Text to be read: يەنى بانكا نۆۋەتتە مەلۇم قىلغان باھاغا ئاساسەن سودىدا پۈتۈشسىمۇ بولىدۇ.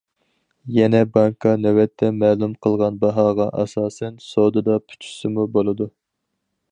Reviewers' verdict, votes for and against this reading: rejected, 0, 4